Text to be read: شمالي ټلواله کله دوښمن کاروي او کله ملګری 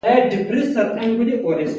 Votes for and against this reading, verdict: 0, 2, rejected